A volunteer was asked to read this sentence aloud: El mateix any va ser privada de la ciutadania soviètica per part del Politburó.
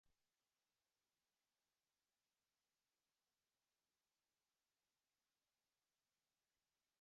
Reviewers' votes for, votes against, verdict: 1, 2, rejected